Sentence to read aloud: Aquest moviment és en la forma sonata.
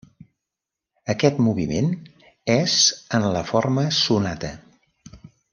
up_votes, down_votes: 3, 0